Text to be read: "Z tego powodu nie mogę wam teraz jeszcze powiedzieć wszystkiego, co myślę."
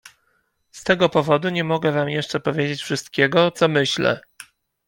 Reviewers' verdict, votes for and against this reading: rejected, 0, 2